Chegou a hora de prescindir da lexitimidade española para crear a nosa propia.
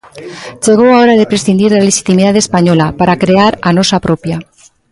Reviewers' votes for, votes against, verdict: 0, 2, rejected